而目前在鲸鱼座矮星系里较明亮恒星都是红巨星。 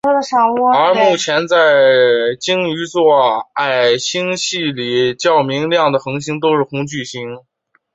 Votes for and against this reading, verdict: 3, 4, rejected